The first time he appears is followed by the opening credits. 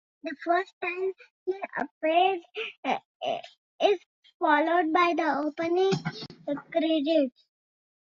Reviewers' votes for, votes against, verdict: 1, 2, rejected